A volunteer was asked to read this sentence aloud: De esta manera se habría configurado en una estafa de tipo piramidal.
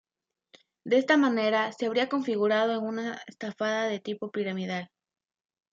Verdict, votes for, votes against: rejected, 0, 2